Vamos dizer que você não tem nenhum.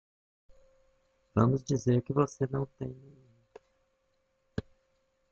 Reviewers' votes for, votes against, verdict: 1, 2, rejected